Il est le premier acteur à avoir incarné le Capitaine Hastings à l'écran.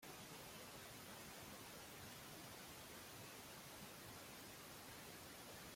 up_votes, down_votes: 0, 2